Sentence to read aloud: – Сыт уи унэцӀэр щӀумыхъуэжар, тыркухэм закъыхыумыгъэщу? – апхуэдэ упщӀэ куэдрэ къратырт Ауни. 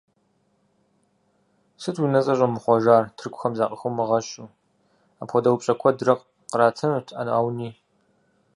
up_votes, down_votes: 0, 4